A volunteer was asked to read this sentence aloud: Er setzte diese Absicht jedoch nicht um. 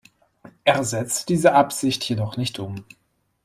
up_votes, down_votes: 1, 2